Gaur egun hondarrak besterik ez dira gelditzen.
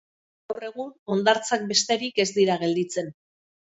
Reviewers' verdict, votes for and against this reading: rejected, 0, 2